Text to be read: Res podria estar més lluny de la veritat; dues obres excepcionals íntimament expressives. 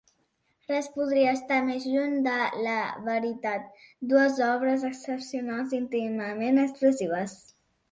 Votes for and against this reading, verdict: 2, 0, accepted